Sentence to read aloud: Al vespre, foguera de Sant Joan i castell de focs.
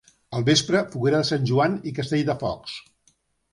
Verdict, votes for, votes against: accepted, 2, 0